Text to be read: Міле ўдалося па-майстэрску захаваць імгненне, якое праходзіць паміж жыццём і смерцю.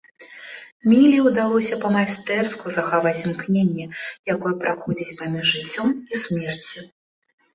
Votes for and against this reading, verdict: 1, 2, rejected